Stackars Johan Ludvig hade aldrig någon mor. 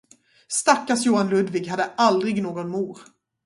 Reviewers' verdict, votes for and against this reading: rejected, 0, 2